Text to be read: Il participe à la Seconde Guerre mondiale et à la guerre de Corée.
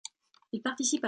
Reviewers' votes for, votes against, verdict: 0, 2, rejected